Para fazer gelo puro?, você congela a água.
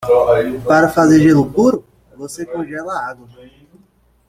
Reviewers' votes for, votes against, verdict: 0, 2, rejected